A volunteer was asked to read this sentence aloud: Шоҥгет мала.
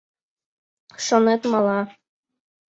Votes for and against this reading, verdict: 1, 2, rejected